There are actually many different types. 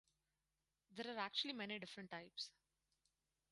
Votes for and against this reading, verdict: 2, 4, rejected